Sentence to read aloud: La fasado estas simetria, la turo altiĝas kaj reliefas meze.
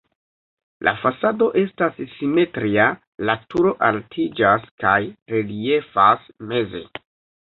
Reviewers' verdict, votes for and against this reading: rejected, 1, 2